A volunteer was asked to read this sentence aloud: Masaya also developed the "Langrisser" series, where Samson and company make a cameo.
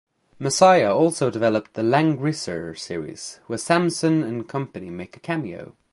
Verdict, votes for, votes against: accepted, 2, 0